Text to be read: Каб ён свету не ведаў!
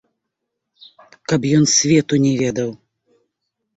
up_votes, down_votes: 2, 0